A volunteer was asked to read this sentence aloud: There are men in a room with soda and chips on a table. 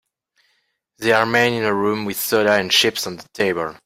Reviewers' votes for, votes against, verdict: 1, 2, rejected